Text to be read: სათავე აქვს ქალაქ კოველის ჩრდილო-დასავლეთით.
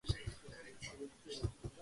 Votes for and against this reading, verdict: 0, 3, rejected